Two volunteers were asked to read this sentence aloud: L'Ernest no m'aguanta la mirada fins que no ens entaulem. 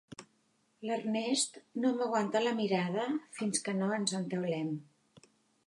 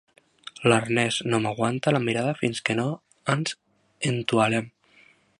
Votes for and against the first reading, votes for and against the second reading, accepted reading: 2, 0, 0, 2, first